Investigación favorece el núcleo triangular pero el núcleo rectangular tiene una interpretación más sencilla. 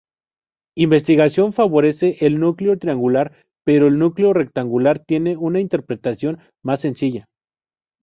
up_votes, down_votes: 2, 0